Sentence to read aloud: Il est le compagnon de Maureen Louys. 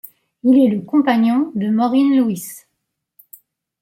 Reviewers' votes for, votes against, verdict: 2, 0, accepted